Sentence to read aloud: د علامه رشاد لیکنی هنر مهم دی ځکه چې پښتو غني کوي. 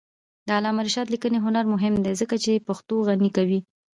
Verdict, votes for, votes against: accepted, 2, 0